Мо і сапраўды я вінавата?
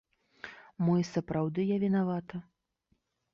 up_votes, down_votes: 2, 0